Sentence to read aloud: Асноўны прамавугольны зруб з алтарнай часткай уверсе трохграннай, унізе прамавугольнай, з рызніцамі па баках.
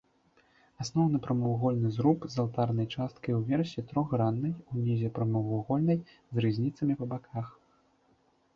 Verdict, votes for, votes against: accepted, 2, 0